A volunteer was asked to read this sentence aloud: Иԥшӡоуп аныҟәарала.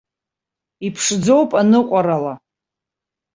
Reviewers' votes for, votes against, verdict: 2, 0, accepted